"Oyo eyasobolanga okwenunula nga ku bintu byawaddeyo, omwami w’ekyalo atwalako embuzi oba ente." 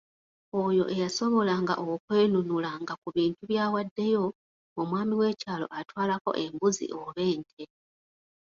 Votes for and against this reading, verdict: 0, 2, rejected